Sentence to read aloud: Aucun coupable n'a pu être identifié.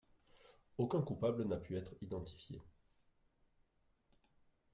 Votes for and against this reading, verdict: 0, 2, rejected